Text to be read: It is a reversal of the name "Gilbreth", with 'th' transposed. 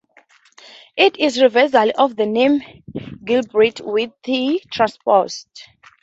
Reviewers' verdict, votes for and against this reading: accepted, 2, 0